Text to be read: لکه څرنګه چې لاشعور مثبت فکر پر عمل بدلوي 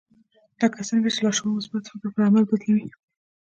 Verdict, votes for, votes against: rejected, 1, 2